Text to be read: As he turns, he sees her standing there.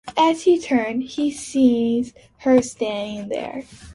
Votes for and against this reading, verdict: 0, 2, rejected